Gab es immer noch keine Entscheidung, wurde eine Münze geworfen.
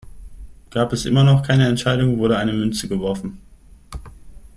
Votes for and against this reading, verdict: 2, 0, accepted